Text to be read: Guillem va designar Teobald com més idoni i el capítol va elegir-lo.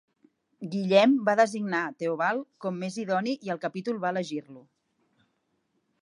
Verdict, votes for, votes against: accepted, 2, 0